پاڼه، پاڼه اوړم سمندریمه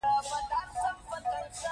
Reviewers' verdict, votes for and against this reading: rejected, 1, 2